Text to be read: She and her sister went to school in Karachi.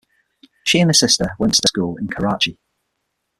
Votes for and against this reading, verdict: 0, 6, rejected